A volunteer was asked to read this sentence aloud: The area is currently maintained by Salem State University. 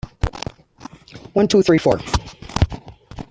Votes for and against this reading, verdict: 1, 2, rejected